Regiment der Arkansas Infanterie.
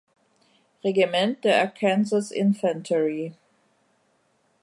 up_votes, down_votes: 1, 2